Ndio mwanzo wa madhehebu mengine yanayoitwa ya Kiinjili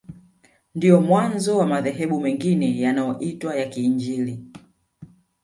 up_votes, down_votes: 0, 2